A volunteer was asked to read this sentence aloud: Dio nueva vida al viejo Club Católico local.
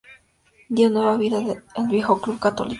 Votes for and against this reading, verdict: 0, 2, rejected